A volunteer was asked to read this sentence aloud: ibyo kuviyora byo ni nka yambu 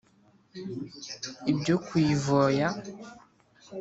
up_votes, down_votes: 0, 2